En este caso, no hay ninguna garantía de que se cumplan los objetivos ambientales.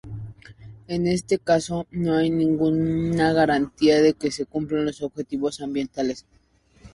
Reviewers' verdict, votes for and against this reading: accepted, 2, 0